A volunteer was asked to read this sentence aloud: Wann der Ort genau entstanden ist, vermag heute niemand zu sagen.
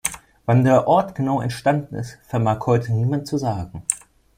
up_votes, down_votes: 2, 0